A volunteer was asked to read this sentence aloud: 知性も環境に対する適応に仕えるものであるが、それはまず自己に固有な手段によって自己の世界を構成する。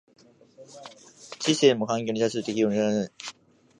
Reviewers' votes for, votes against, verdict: 0, 2, rejected